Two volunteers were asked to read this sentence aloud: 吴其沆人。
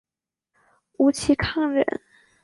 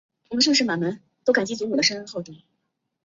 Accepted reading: first